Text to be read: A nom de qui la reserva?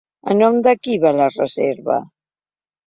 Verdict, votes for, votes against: rejected, 1, 2